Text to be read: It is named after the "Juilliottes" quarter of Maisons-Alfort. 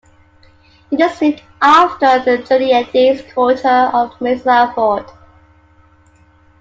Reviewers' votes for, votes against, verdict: 1, 2, rejected